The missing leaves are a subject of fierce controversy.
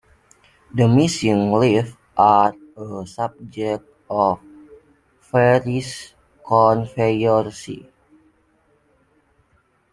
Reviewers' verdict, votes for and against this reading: rejected, 1, 2